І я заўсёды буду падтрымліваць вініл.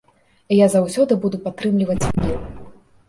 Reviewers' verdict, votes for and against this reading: rejected, 1, 2